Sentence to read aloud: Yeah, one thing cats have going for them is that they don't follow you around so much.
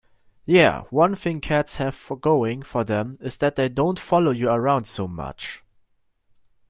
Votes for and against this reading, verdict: 1, 2, rejected